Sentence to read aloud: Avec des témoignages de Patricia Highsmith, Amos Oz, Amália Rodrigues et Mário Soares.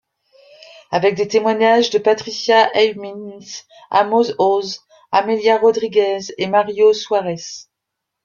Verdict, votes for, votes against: rejected, 1, 2